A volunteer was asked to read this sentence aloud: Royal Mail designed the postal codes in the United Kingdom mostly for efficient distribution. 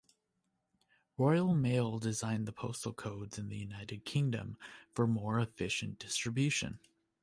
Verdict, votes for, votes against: rejected, 1, 2